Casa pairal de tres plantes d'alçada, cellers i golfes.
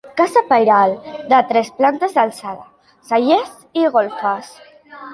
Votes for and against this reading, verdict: 1, 2, rejected